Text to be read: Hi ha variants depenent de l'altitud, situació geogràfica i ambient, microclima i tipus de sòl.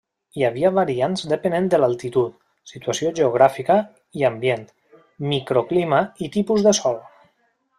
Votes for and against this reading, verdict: 1, 2, rejected